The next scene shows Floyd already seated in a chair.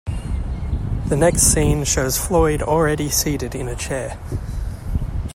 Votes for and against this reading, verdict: 2, 0, accepted